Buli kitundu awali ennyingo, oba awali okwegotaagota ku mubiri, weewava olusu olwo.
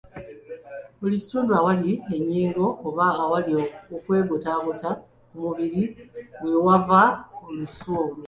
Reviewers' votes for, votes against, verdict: 2, 0, accepted